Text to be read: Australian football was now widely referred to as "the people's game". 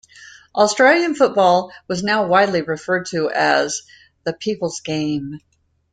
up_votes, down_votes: 2, 0